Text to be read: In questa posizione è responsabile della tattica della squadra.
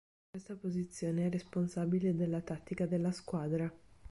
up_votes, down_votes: 1, 3